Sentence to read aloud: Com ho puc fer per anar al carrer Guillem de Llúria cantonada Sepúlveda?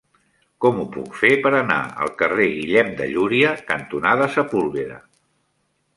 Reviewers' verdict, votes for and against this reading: accepted, 2, 0